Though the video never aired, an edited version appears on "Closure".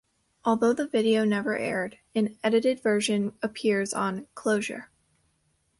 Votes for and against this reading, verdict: 0, 2, rejected